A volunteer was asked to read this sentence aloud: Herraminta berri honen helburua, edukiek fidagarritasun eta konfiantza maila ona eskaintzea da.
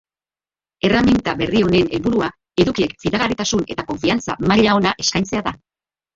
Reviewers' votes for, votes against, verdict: 0, 2, rejected